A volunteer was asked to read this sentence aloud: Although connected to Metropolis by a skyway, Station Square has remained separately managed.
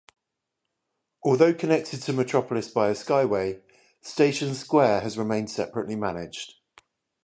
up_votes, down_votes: 0, 5